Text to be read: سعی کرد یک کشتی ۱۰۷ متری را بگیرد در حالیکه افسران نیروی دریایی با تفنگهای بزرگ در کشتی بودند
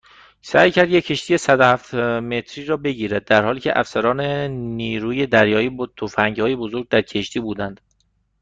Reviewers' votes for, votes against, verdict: 0, 2, rejected